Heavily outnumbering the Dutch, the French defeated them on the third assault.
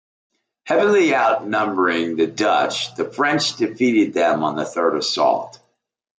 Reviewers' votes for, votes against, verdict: 2, 0, accepted